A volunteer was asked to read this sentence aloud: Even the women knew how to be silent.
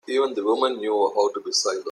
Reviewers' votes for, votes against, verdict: 1, 2, rejected